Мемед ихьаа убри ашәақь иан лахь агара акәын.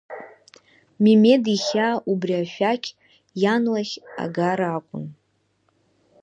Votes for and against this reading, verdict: 1, 3, rejected